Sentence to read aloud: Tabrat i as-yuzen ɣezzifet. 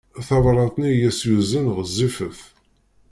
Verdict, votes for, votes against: rejected, 0, 2